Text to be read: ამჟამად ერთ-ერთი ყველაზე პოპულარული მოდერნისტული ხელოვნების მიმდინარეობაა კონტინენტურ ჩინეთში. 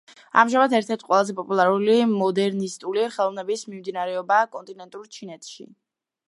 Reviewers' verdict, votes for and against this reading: rejected, 1, 2